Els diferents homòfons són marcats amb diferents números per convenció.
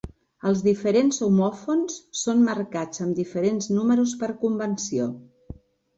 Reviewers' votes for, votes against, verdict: 3, 0, accepted